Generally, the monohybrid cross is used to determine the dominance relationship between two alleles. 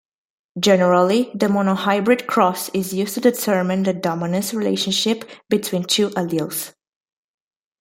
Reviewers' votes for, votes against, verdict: 2, 0, accepted